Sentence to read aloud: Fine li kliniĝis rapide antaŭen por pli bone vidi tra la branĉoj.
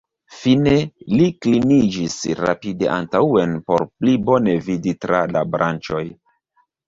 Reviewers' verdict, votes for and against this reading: rejected, 1, 2